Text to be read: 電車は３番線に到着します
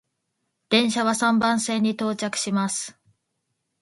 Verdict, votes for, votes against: rejected, 0, 2